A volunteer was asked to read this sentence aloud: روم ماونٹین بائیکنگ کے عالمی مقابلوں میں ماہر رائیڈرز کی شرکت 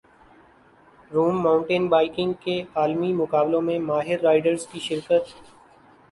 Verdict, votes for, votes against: rejected, 1, 2